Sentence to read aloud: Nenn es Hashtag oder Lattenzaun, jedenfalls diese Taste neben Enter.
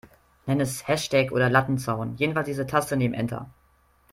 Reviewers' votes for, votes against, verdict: 2, 0, accepted